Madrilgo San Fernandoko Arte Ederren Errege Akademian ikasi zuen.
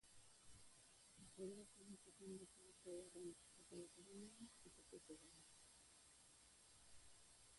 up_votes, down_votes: 0, 2